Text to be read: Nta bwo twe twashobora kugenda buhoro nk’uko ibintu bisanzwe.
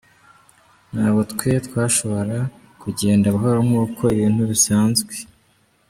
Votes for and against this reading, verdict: 2, 0, accepted